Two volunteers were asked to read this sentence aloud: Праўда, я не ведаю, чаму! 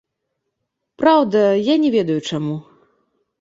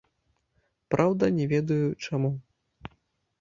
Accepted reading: first